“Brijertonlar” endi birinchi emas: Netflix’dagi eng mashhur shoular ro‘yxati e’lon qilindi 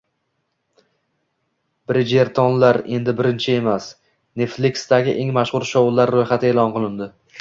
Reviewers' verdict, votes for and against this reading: accepted, 2, 0